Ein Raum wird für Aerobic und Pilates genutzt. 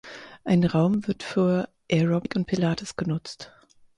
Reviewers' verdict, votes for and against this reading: rejected, 2, 4